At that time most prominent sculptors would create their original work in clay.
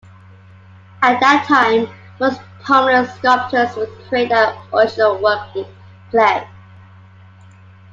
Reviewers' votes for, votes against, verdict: 2, 0, accepted